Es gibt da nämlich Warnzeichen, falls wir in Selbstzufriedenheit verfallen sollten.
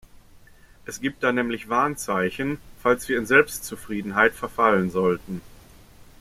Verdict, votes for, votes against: accepted, 2, 0